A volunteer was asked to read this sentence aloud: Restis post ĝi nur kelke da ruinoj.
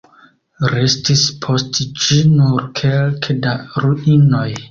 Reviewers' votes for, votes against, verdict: 2, 1, accepted